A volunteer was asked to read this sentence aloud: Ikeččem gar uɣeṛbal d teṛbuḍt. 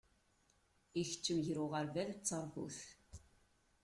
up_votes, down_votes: 1, 2